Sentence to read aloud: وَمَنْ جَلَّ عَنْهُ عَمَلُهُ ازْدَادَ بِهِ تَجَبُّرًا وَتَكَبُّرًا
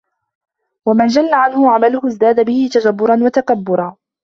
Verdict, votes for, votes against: accepted, 2, 0